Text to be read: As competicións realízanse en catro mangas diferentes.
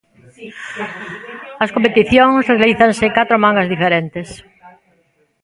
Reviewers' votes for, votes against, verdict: 3, 2, accepted